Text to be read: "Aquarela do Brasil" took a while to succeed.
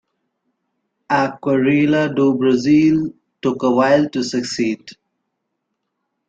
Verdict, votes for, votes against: rejected, 0, 2